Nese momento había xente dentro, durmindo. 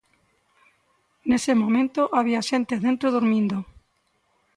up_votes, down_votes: 2, 0